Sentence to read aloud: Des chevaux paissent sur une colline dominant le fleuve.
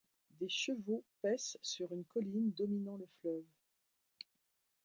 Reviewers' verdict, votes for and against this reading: accepted, 2, 0